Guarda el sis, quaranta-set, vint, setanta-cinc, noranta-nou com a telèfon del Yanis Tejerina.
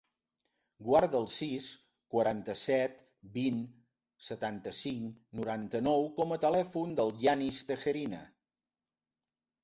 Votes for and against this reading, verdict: 3, 0, accepted